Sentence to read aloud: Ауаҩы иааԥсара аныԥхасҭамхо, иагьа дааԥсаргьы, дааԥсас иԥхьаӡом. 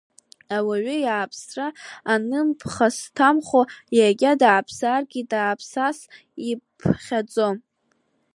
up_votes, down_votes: 0, 2